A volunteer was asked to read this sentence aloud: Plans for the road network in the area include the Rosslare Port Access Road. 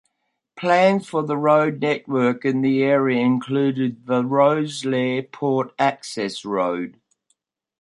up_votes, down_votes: 2, 0